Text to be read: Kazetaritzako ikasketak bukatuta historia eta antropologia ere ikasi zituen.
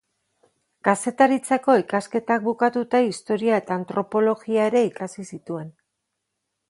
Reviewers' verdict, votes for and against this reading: accepted, 2, 0